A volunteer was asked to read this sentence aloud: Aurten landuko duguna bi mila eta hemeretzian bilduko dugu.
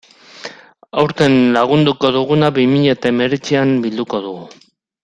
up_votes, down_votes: 1, 2